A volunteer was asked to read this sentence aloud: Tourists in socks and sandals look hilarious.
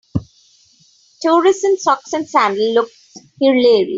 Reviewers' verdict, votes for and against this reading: rejected, 2, 3